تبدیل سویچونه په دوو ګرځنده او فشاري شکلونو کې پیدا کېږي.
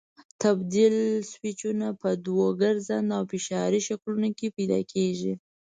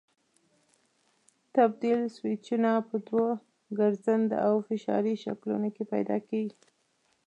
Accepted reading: first